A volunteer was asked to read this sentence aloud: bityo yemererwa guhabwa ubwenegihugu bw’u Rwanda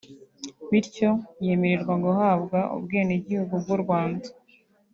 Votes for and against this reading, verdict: 0, 2, rejected